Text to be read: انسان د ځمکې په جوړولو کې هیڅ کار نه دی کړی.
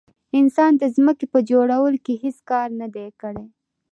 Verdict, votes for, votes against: accepted, 2, 0